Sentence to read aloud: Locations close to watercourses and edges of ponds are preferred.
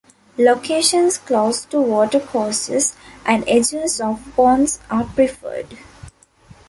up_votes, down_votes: 2, 1